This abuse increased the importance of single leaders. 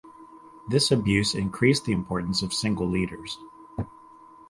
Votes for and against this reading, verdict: 4, 0, accepted